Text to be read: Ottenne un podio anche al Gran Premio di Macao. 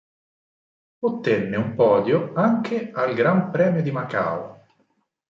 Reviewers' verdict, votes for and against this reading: accepted, 4, 0